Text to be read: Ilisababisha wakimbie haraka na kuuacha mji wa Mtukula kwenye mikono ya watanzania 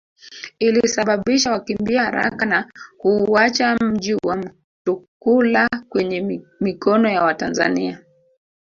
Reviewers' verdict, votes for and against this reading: rejected, 1, 2